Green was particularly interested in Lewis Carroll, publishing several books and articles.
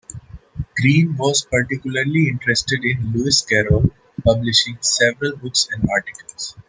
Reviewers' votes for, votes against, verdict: 2, 1, accepted